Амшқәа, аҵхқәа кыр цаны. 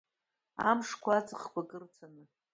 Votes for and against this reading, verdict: 1, 2, rejected